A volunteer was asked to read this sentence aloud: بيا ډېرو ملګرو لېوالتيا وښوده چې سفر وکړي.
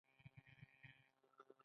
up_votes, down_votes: 2, 1